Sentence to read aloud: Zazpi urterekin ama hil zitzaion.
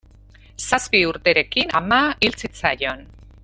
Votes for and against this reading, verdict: 2, 0, accepted